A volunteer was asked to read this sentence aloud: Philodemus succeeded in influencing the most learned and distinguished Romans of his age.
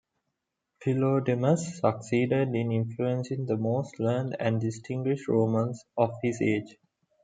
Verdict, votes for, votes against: accepted, 2, 0